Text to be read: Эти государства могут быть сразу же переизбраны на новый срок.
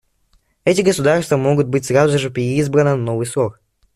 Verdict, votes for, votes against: rejected, 1, 2